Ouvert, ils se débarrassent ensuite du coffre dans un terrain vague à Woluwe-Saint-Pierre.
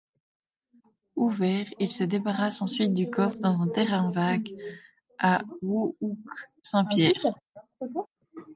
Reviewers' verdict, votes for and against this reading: rejected, 0, 2